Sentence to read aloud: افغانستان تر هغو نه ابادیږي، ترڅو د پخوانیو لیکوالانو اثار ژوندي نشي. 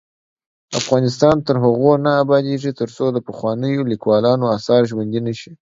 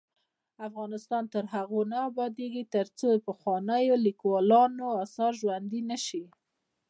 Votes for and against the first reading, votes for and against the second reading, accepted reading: 2, 0, 0, 2, first